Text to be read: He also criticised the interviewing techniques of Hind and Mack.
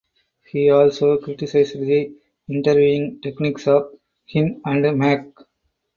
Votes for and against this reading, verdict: 4, 2, accepted